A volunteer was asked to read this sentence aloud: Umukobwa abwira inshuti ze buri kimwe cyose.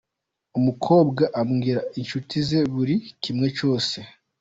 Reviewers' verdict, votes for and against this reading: accepted, 2, 0